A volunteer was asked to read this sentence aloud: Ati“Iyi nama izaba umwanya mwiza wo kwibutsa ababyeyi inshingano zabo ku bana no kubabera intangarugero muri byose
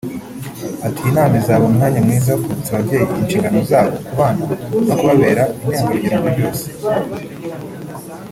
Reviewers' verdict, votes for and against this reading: rejected, 1, 2